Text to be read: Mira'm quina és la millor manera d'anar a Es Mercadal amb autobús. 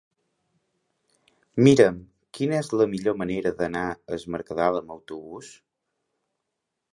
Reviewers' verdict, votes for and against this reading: rejected, 1, 2